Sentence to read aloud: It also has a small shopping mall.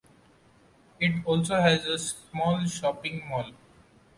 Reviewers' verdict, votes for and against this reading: accepted, 2, 0